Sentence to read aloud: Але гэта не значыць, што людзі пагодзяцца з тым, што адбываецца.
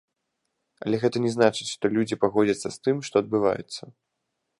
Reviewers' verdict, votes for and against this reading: accepted, 2, 0